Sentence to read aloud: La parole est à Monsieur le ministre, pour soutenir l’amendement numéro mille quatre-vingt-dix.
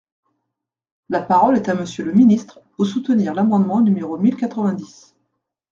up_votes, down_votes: 2, 0